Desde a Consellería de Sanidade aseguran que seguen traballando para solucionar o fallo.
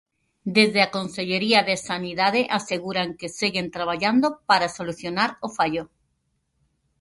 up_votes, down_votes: 0, 2